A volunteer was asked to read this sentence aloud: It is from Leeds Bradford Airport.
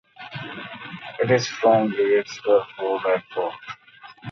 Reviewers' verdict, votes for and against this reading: rejected, 0, 2